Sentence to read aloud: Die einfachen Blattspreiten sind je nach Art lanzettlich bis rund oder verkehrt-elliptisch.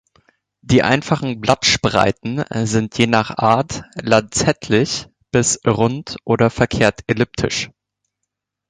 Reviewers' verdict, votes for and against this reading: rejected, 1, 2